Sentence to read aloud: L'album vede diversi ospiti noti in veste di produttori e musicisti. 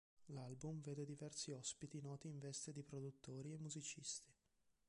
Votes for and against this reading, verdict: 0, 2, rejected